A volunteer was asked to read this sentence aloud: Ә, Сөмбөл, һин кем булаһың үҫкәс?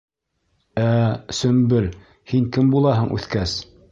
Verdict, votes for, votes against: accepted, 2, 0